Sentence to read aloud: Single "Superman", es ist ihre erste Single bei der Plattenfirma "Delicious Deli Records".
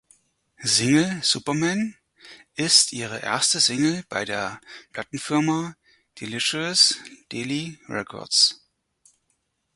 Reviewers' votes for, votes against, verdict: 0, 4, rejected